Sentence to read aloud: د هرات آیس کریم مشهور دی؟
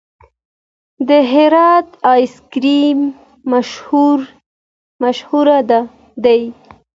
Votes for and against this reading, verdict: 1, 2, rejected